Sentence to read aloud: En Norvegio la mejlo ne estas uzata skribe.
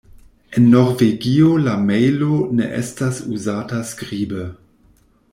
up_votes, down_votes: 1, 2